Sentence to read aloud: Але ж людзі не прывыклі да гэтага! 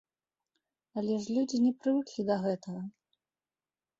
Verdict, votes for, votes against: accepted, 2, 0